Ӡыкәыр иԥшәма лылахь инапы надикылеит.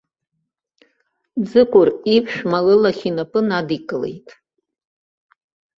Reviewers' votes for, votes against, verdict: 2, 0, accepted